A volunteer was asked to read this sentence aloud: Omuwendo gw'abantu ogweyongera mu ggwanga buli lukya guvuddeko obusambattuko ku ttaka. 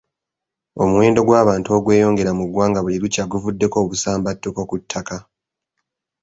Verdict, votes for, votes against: accepted, 2, 0